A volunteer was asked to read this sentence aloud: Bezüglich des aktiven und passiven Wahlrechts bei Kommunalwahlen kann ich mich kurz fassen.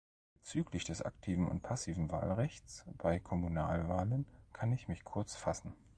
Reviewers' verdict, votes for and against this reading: rejected, 1, 2